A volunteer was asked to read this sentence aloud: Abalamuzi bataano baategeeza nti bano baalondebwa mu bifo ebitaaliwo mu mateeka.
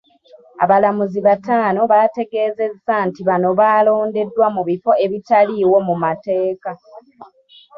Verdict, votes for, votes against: rejected, 1, 2